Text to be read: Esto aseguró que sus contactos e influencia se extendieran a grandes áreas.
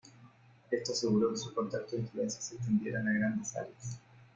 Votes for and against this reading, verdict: 0, 2, rejected